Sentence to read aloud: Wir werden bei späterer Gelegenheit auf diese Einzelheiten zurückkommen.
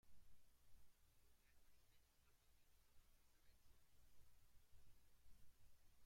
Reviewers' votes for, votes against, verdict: 0, 2, rejected